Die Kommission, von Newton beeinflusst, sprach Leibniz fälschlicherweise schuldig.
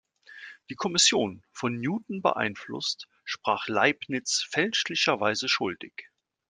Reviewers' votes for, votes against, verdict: 2, 0, accepted